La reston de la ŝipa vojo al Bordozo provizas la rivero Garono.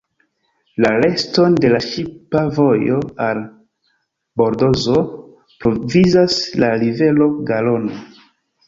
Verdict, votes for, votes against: rejected, 1, 2